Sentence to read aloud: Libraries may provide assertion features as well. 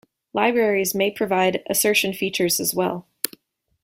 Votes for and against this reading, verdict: 2, 0, accepted